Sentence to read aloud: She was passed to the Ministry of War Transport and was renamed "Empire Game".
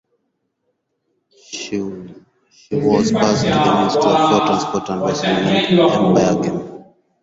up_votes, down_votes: 0, 4